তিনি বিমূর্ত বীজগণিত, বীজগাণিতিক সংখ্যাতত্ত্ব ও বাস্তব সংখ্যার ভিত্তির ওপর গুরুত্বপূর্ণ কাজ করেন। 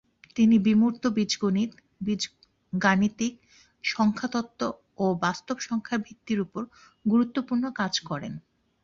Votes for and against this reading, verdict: 1, 2, rejected